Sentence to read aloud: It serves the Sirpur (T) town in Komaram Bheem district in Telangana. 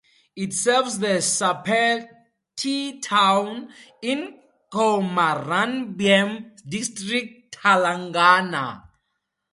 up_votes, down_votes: 2, 2